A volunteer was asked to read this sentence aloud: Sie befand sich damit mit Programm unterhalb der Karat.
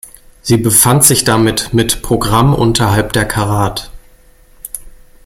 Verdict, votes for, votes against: accepted, 2, 0